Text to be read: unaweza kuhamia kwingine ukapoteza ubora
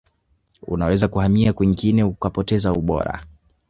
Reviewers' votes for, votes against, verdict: 0, 2, rejected